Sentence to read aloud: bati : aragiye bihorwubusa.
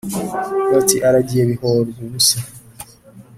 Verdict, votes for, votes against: accepted, 3, 0